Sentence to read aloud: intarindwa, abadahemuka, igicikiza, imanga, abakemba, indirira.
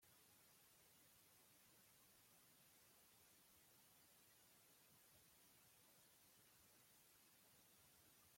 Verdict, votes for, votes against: rejected, 0, 2